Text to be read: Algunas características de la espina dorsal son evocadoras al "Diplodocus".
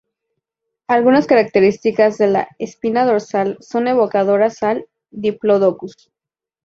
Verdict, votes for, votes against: accepted, 2, 0